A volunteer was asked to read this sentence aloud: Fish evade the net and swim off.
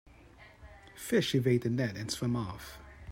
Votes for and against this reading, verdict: 4, 0, accepted